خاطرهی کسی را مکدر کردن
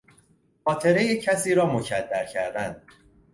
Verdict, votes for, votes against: accepted, 2, 0